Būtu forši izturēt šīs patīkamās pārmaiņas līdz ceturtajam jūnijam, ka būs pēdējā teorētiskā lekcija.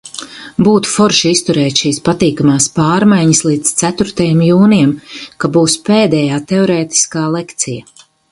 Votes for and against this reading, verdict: 4, 0, accepted